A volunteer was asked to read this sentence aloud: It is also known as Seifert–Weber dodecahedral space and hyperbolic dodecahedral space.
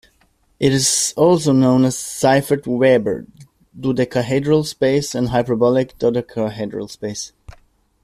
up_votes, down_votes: 0, 2